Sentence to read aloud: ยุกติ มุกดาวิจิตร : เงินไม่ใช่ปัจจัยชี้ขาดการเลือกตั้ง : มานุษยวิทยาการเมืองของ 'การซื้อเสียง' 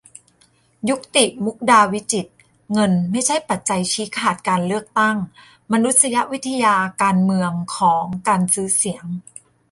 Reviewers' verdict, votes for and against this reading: accepted, 2, 0